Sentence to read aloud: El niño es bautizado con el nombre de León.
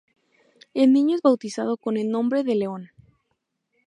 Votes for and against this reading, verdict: 2, 2, rejected